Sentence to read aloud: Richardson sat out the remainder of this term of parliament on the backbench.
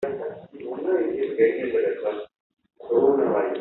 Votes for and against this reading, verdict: 0, 2, rejected